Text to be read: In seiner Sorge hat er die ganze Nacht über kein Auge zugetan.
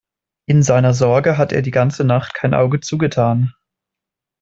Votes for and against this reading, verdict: 1, 2, rejected